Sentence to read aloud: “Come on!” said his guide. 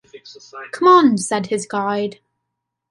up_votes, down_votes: 1, 2